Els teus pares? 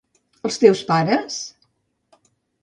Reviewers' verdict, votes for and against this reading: accepted, 2, 0